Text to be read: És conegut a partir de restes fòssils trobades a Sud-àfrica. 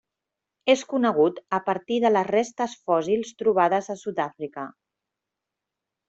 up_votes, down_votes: 1, 2